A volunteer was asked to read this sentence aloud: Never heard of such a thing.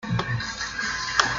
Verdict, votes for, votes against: rejected, 0, 3